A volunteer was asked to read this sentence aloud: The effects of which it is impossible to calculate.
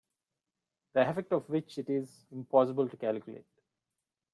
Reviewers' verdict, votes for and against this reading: rejected, 1, 2